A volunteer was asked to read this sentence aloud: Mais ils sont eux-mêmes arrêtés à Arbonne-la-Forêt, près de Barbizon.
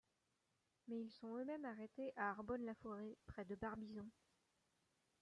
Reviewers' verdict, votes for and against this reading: accepted, 2, 0